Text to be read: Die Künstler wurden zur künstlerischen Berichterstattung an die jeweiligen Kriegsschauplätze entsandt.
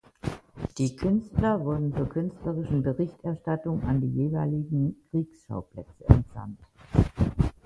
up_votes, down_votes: 2, 0